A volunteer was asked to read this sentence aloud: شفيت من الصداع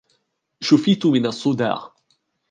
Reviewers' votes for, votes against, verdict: 1, 2, rejected